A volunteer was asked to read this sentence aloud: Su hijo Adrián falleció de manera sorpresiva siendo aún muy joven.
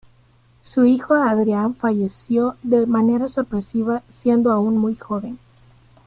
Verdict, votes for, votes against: accepted, 2, 0